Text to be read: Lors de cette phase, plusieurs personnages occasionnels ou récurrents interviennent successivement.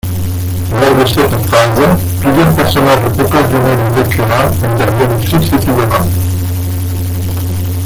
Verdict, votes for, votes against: rejected, 0, 2